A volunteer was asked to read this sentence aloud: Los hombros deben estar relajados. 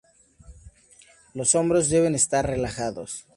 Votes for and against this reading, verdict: 4, 0, accepted